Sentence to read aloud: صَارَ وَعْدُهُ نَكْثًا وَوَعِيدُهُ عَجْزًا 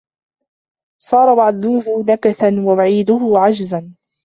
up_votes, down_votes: 1, 2